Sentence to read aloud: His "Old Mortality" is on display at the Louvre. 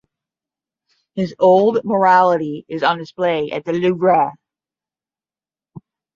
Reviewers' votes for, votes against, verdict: 5, 10, rejected